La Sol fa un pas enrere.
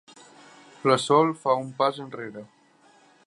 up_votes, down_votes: 3, 0